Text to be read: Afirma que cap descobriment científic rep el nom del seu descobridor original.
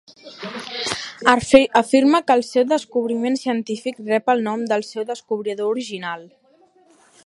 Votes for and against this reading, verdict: 0, 2, rejected